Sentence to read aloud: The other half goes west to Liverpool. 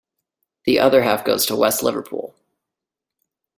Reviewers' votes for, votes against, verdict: 1, 2, rejected